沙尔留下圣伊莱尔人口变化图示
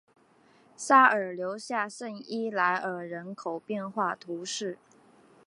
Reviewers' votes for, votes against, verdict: 3, 0, accepted